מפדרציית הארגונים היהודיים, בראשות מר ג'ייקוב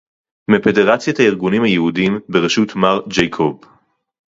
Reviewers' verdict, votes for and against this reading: rejected, 0, 2